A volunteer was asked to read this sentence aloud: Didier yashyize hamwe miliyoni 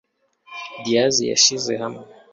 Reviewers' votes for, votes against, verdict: 0, 2, rejected